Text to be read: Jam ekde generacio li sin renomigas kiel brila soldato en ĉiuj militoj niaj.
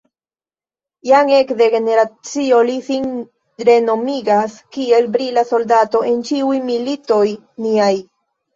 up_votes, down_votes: 2, 0